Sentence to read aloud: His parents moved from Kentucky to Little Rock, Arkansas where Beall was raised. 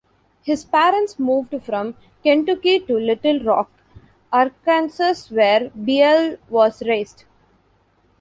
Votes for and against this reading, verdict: 1, 2, rejected